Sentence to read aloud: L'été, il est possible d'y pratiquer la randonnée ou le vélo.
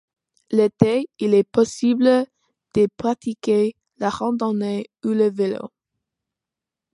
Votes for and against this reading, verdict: 2, 0, accepted